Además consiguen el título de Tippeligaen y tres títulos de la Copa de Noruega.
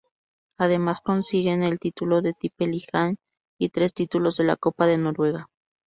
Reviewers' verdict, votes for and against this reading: rejected, 0, 2